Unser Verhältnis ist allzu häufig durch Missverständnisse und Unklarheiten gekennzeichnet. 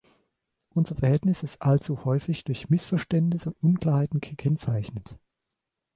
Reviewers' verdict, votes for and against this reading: accepted, 2, 0